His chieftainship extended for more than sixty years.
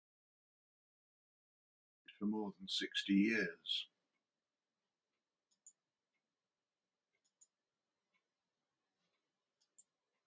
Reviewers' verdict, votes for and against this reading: rejected, 0, 2